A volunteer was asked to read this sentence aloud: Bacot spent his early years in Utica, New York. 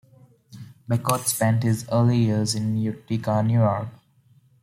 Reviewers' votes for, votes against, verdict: 2, 1, accepted